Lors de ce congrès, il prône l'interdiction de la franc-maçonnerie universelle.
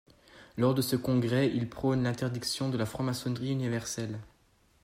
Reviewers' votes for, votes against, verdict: 2, 0, accepted